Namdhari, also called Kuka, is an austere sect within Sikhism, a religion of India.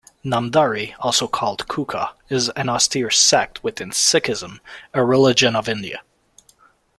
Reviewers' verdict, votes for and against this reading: accepted, 2, 0